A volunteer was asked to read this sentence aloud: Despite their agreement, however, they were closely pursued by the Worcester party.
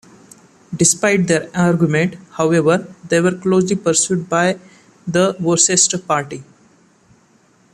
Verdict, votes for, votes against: accepted, 2, 0